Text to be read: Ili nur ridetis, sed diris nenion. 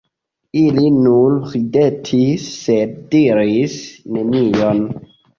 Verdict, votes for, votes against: rejected, 0, 2